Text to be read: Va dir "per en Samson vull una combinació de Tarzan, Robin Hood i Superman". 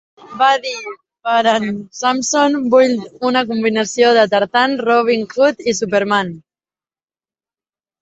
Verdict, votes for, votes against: accepted, 2, 0